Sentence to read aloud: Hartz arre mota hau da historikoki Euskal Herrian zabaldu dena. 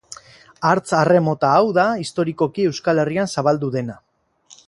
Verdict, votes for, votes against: accepted, 4, 0